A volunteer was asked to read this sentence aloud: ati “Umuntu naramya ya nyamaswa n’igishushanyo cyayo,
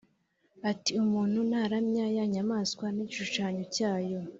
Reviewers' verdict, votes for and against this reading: accepted, 2, 0